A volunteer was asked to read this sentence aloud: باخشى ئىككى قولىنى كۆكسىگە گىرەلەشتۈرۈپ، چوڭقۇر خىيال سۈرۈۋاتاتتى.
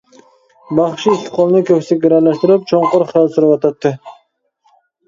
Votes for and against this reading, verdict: 1, 2, rejected